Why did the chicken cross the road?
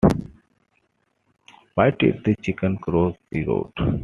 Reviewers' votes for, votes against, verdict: 2, 0, accepted